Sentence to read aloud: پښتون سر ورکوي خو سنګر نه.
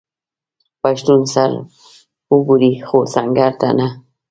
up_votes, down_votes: 1, 2